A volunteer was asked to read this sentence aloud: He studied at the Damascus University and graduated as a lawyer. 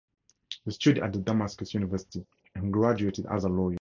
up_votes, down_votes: 0, 2